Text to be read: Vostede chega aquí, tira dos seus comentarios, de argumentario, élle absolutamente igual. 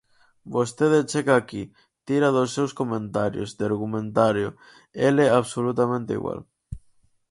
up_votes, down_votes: 0, 4